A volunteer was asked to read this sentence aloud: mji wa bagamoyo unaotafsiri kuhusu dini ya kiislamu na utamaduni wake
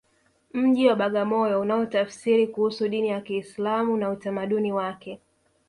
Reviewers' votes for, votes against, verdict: 2, 1, accepted